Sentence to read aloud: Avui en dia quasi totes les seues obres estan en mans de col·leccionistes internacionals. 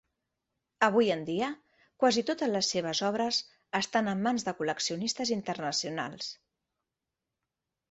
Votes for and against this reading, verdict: 1, 2, rejected